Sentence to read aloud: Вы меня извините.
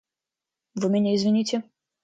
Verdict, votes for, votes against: accepted, 2, 0